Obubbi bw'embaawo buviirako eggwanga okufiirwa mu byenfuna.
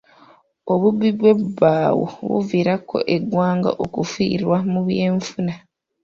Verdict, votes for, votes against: rejected, 0, 2